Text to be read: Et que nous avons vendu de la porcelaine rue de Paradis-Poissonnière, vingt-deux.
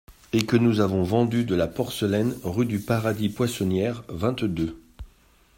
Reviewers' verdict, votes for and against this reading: accepted, 2, 1